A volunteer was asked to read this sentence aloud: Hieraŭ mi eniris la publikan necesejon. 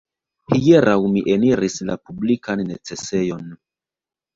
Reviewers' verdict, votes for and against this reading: rejected, 1, 2